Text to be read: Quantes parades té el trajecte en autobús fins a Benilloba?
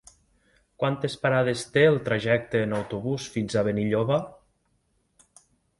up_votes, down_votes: 3, 0